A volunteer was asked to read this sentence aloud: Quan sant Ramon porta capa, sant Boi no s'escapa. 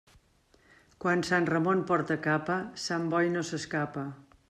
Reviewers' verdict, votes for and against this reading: accepted, 3, 0